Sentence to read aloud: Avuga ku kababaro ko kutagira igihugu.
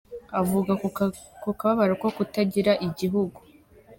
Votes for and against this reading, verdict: 2, 1, accepted